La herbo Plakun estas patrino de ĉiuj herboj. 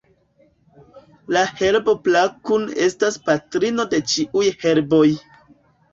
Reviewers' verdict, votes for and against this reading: rejected, 1, 2